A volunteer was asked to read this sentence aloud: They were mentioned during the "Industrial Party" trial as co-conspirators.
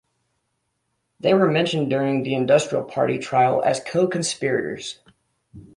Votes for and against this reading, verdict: 2, 0, accepted